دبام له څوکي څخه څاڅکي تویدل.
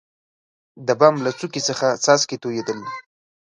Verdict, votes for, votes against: accepted, 3, 1